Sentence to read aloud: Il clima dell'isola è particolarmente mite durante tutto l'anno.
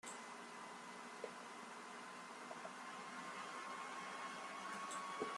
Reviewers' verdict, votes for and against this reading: rejected, 0, 2